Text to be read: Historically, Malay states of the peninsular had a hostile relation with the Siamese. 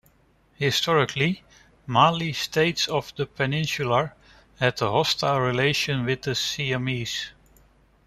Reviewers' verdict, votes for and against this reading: rejected, 0, 2